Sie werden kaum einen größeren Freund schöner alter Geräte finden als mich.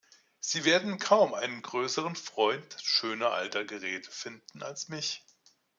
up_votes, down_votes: 2, 0